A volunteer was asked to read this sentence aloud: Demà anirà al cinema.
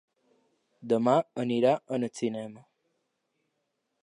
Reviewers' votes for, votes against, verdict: 1, 3, rejected